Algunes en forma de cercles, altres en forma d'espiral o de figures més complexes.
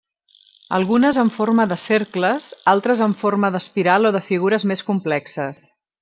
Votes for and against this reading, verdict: 3, 0, accepted